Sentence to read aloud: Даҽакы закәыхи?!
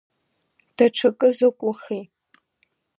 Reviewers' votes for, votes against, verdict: 1, 2, rejected